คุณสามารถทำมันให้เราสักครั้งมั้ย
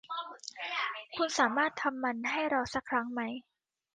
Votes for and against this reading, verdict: 1, 2, rejected